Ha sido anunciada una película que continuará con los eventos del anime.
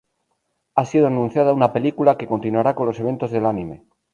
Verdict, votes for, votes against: rejected, 2, 2